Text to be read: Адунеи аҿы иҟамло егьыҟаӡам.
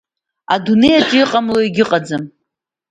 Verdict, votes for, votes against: accepted, 2, 0